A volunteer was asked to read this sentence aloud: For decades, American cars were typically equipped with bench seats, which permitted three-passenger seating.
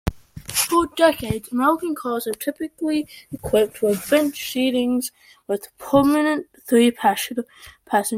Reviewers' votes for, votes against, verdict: 1, 2, rejected